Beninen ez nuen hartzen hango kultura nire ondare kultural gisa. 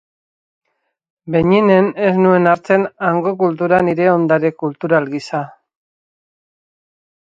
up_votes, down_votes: 2, 2